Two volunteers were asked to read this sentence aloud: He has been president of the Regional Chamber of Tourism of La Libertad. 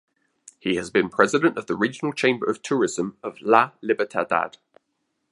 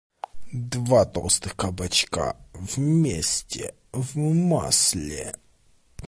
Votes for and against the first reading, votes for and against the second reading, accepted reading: 2, 1, 0, 2, first